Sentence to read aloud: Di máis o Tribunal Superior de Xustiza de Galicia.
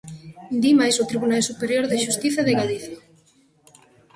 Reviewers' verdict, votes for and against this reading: accepted, 2, 1